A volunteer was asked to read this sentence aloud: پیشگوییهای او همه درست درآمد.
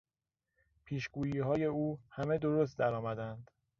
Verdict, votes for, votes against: rejected, 1, 2